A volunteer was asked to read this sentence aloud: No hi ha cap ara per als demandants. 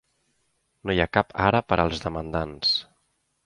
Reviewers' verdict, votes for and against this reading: accepted, 3, 0